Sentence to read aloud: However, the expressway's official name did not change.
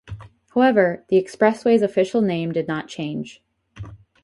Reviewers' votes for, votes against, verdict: 0, 2, rejected